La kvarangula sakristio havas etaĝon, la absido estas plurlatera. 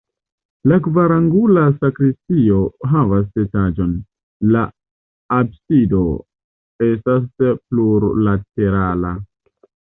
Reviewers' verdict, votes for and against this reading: rejected, 1, 2